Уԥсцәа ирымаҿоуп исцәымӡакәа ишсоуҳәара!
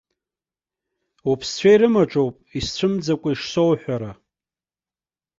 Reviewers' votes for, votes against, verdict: 2, 0, accepted